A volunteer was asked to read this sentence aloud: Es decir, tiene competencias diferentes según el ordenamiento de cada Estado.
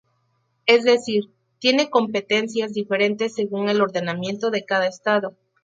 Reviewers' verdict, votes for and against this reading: accepted, 4, 0